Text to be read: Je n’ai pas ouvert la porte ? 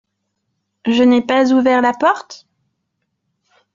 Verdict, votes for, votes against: accepted, 2, 0